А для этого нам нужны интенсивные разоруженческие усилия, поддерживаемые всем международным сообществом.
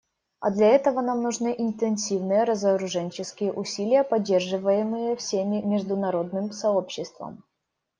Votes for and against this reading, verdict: 1, 2, rejected